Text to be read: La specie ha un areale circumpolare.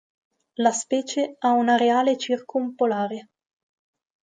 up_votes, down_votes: 4, 0